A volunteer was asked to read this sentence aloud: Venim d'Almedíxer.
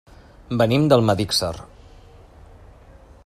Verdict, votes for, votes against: accepted, 2, 1